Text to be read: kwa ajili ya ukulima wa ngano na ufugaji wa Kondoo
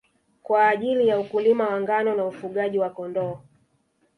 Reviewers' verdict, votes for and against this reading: rejected, 1, 2